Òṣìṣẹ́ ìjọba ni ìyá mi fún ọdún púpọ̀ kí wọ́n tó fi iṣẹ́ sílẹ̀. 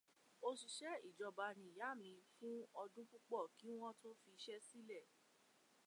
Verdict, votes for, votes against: rejected, 1, 2